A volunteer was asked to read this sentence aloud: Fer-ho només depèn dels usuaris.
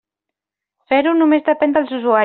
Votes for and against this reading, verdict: 0, 2, rejected